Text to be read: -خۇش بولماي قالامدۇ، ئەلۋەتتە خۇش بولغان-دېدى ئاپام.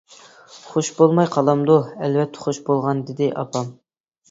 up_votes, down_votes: 2, 0